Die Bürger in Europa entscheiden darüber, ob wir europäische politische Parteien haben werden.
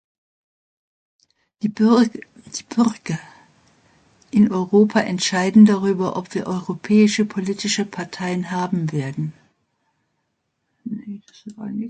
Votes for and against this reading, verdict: 0, 3, rejected